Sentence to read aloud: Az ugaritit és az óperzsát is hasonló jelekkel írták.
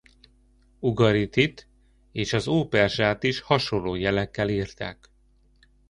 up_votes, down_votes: 1, 2